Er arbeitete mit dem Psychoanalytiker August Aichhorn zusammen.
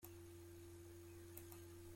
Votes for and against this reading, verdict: 0, 2, rejected